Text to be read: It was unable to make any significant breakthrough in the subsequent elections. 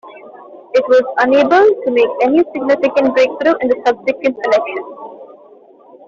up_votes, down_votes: 0, 2